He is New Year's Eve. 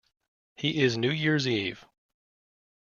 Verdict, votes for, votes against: accepted, 2, 0